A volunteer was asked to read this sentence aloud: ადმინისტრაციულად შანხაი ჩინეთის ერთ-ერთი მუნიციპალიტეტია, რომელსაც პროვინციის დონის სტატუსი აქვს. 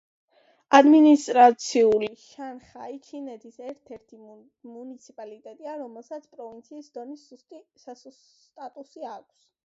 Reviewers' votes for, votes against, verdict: 0, 2, rejected